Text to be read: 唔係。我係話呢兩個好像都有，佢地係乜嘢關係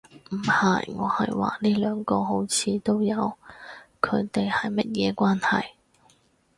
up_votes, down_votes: 4, 2